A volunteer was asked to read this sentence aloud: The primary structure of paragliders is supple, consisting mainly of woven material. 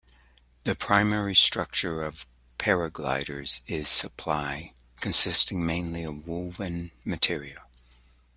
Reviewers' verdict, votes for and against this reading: rejected, 0, 2